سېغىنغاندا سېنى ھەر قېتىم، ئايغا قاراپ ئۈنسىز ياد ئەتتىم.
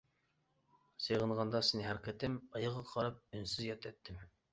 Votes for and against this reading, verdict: 0, 2, rejected